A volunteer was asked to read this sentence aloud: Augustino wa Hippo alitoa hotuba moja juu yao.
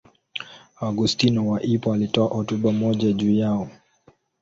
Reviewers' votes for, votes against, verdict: 2, 0, accepted